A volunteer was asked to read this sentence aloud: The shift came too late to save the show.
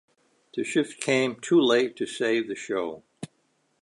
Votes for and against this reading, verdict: 2, 1, accepted